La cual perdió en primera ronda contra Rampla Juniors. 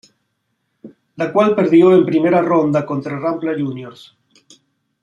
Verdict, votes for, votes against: accepted, 3, 0